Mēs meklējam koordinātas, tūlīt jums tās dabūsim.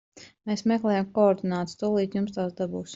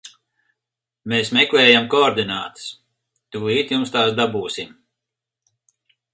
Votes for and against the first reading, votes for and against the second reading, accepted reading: 0, 2, 4, 0, second